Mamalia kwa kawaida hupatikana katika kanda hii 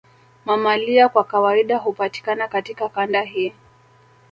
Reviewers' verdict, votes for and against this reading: accepted, 3, 2